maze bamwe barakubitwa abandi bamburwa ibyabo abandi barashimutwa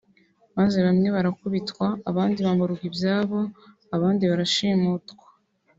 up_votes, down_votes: 2, 0